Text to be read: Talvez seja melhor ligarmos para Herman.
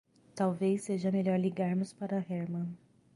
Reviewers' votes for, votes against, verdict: 3, 0, accepted